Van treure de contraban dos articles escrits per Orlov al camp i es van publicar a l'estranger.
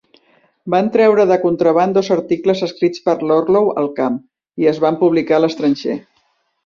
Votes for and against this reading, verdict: 1, 2, rejected